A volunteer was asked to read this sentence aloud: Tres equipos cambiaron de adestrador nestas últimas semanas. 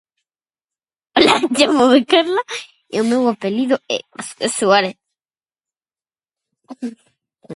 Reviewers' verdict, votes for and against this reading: rejected, 0, 2